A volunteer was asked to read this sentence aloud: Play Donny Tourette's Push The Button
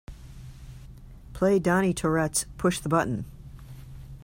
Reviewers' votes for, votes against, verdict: 2, 0, accepted